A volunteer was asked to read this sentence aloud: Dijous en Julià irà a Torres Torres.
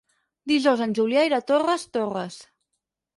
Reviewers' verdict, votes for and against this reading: rejected, 0, 4